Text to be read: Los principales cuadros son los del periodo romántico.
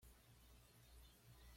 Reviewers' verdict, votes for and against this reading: rejected, 1, 2